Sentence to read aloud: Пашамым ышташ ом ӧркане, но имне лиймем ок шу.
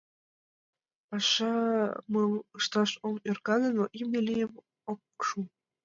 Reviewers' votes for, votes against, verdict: 0, 2, rejected